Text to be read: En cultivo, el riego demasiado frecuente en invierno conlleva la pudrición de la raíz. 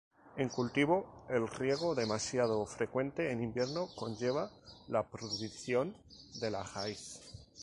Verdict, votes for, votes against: rejected, 0, 2